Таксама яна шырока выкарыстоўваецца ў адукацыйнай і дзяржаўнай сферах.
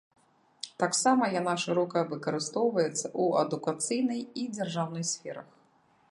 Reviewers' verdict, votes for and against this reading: accepted, 2, 1